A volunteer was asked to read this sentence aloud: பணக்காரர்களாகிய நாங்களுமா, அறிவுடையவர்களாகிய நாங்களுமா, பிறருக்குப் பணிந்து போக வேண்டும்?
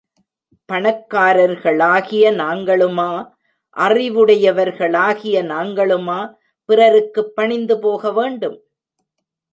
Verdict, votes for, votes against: accepted, 2, 0